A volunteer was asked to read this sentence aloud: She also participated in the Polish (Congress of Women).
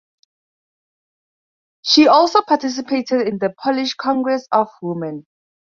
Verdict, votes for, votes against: accepted, 4, 0